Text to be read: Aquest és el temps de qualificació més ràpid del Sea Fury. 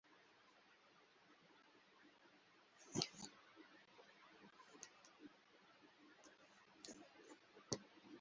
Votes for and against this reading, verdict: 0, 3, rejected